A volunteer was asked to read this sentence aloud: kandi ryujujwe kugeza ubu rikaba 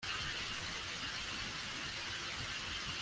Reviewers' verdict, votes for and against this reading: rejected, 0, 3